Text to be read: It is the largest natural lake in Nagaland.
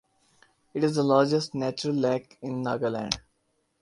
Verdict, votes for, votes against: accepted, 2, 0